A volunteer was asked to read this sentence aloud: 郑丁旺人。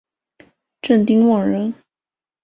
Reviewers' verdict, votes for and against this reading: accepted, 3, 0